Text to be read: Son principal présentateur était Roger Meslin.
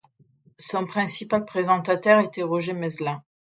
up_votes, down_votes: 2, 0